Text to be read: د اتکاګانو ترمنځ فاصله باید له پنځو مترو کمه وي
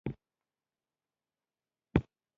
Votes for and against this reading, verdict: 1, 2, rejected